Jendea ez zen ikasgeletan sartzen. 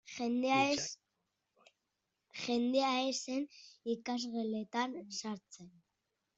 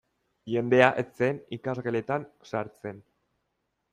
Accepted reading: second